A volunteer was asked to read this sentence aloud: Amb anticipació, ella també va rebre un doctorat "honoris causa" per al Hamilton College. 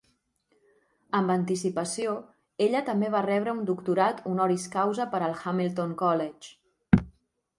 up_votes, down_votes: 4, 0